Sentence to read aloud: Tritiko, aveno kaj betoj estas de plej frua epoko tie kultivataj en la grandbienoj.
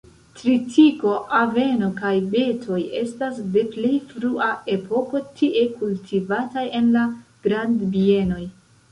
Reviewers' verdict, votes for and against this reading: rejected, 0, 2